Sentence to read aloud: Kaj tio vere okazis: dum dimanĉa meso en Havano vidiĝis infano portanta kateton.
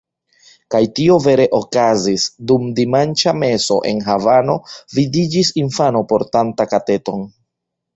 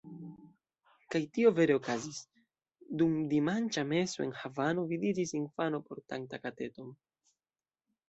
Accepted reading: second